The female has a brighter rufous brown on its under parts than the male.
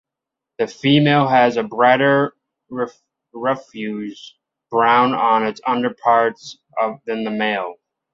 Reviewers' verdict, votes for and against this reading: rejected, 0, 2